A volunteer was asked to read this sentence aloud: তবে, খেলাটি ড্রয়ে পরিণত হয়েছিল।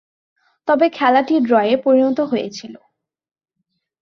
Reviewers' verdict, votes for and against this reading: accepted, 2, 0